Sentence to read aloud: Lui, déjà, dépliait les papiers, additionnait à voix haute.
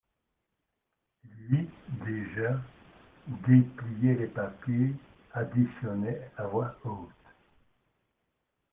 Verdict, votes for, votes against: rejected, 0, 2